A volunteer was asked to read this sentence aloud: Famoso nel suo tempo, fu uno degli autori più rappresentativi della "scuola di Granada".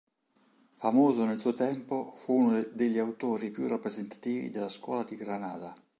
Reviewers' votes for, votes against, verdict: 1, 2, rejected